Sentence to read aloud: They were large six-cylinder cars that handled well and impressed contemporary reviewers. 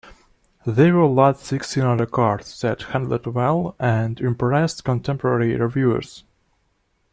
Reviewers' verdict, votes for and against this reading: accepted, 2, 0